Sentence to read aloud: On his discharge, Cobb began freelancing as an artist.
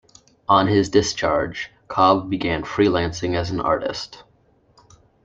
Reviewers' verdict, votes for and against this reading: accepted, 2, 0